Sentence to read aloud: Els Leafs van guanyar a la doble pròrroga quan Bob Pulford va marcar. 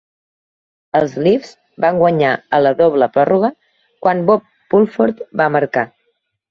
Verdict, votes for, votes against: accepted, 2, 0